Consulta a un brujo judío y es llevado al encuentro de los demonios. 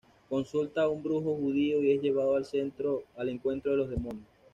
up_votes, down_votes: 0, 2